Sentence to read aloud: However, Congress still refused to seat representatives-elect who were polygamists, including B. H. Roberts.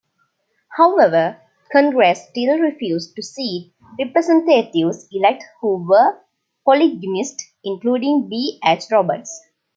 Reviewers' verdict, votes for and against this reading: rejected, 0, 2